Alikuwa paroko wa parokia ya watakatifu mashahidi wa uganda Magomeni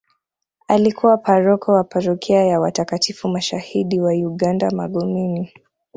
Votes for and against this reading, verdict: 2, 1, accepted